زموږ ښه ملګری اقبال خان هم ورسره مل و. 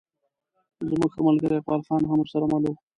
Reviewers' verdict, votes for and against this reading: rejected, 0, 2